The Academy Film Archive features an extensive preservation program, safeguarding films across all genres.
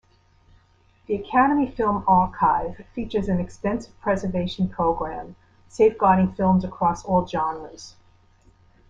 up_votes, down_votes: 2, 0